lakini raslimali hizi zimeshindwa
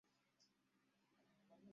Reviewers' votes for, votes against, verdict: 0, 2, rejected